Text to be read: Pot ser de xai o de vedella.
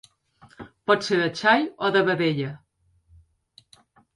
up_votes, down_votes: 2, 0